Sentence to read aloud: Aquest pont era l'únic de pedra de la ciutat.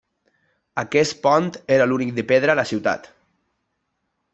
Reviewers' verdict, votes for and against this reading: rejected, 1, 2